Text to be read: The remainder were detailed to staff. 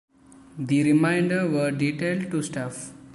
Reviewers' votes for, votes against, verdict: 2, 1, accepted